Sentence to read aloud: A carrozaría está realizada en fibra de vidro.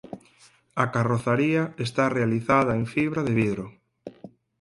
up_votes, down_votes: 4, 0